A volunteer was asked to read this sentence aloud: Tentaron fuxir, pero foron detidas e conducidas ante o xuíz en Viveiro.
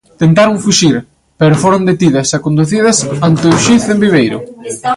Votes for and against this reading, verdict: 0, 2, rejected